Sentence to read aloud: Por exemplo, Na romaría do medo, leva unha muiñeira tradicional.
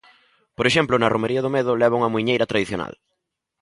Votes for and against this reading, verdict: 2, 1, accepted